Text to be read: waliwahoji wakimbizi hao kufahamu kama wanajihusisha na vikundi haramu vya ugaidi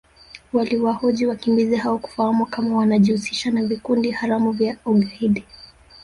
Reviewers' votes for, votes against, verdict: 0, 2, rejected